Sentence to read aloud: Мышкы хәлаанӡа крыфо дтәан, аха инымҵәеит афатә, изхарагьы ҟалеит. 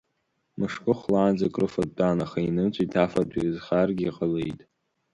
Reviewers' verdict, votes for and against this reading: accepted, 3, 0